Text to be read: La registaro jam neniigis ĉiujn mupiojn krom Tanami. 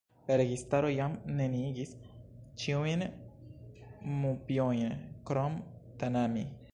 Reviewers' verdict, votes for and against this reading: rejected, 1, 2